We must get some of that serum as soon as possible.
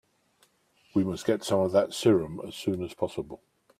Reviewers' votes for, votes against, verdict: 4, 0, accepted